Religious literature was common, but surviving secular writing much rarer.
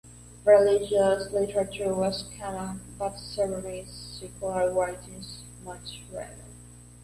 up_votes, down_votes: 1, 2